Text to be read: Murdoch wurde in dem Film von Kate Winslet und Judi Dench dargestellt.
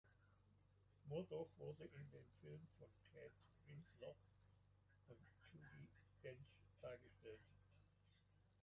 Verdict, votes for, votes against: rejected, 0, 2